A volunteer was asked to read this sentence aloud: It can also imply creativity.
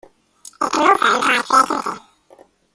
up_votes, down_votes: 0, 2